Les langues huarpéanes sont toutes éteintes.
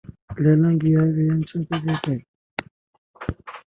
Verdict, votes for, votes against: rejected, 1, 2